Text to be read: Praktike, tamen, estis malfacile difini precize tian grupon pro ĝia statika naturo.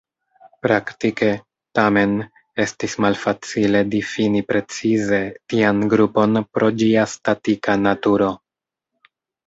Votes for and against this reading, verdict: 1, 2, rejected